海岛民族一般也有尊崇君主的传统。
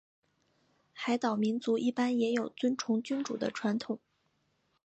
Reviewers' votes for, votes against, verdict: 7, 0, accepted